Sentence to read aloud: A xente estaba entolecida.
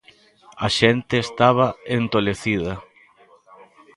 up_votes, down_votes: 1, 2